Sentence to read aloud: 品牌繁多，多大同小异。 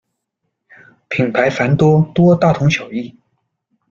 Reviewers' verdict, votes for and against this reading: accepted, 2, 0